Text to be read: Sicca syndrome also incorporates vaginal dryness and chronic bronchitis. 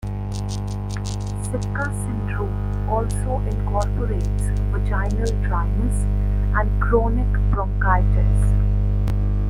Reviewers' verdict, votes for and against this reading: rejected, 1, 2